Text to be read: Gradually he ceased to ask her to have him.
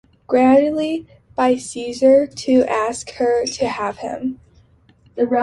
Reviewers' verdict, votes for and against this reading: rejected, 0, 2